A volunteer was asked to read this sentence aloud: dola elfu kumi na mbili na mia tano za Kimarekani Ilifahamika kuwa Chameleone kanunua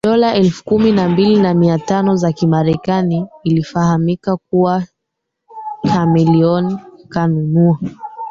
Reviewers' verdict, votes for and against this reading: rejected, 0, 3